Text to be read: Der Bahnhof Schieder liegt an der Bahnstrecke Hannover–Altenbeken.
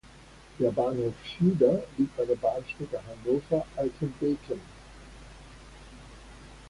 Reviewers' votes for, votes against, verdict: 2, 0, accepted